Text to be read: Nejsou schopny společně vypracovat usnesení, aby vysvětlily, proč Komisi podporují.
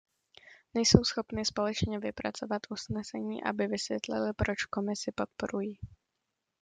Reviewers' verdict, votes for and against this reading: accepted, 2, 0